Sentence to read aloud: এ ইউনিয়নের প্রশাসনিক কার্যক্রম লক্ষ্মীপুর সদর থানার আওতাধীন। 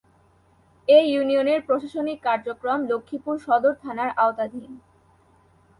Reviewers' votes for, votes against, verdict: 0, 2, rejected